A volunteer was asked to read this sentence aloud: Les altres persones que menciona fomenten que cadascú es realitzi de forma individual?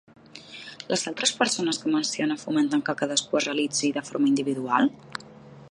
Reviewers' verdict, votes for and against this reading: accepted, 2, 0